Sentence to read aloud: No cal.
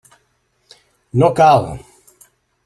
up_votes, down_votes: 1, 2